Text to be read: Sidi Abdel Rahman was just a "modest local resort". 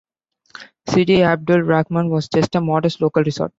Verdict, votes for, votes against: accepted, 2, 1